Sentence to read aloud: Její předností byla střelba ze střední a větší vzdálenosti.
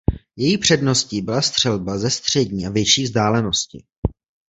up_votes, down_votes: 2, 0